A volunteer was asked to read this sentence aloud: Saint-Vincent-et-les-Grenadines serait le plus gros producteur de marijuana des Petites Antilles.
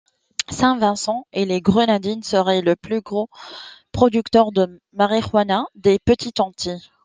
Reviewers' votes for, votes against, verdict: 2, 0, accepted